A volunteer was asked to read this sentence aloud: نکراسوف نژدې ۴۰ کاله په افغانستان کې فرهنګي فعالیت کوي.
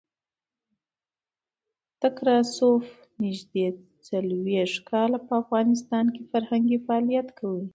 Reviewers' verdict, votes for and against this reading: rejected, 0, 2